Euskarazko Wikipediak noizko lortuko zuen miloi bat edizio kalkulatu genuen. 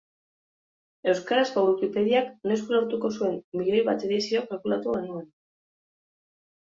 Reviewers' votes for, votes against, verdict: 0, 2, rejected